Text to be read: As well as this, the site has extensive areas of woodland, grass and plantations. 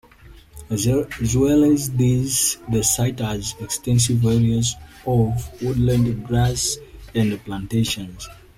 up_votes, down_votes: 1, 2